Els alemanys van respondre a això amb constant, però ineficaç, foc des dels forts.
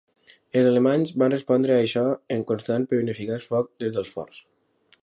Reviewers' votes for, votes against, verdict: 1, 2, rejected